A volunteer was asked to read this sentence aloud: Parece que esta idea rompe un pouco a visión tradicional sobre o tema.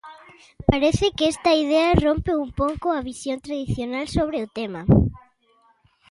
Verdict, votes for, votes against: rejected, 1, 2